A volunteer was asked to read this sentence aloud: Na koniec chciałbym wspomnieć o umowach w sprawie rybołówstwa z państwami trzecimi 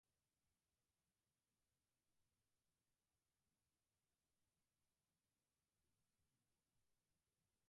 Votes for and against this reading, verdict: 0, 4, rejected